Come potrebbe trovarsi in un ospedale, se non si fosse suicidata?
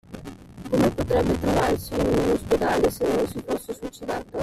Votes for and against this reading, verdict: 1, 2, rejected